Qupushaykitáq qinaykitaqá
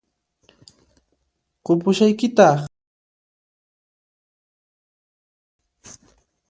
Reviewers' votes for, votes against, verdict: 1, 2, rejected